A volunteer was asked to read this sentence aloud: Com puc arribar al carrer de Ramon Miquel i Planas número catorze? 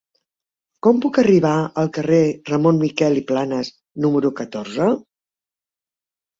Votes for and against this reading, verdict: 4, 3, accepted